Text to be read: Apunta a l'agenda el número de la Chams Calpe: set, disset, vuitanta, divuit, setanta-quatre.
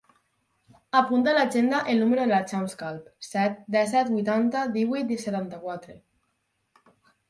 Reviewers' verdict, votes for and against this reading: rejected, 0, 4